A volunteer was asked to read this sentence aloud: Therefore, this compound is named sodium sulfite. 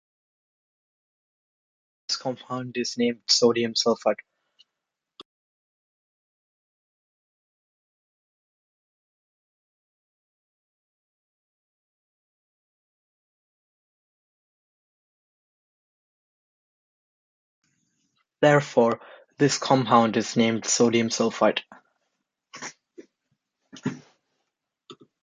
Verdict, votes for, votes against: rejected, 0, 2